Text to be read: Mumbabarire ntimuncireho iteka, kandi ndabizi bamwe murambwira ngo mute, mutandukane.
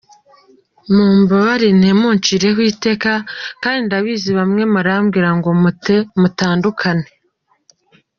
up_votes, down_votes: 2, 0